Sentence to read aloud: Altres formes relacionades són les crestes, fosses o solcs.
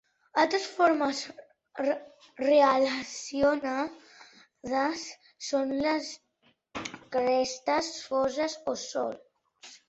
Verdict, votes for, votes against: rejected, 0, 3